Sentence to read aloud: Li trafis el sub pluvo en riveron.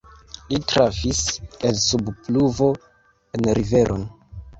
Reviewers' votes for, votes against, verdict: 0, 2, rejected